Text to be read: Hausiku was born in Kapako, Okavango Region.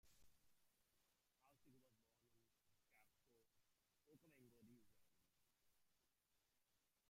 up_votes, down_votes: 0, 2